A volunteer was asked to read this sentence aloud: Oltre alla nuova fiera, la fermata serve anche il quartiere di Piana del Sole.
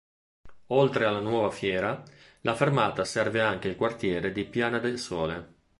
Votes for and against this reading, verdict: 2, 0, accepted